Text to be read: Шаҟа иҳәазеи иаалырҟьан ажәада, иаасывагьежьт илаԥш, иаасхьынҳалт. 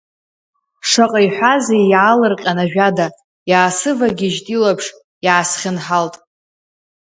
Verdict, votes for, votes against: accepted, 2, 1